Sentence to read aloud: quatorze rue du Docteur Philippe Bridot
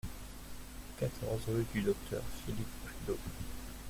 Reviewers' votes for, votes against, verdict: 0, 2, rejected